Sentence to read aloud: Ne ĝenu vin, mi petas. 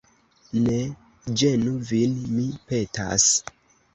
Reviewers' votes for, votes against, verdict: 1, 2, rejected